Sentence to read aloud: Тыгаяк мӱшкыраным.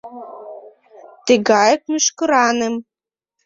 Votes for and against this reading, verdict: 0, 2, rejected